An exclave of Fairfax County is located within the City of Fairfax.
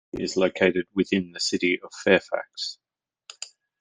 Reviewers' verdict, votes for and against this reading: rejected, 0, 2